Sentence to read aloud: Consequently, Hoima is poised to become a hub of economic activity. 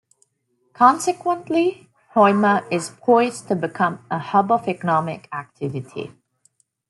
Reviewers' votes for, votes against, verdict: 2, 0, accepted